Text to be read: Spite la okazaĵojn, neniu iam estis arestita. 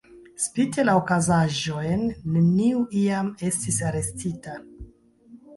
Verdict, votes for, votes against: rejected, 0, 2